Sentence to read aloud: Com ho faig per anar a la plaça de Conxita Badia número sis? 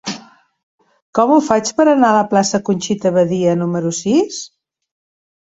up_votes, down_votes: 1, 2